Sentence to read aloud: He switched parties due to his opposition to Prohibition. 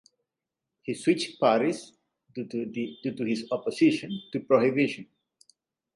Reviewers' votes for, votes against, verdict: 1, 2, rejected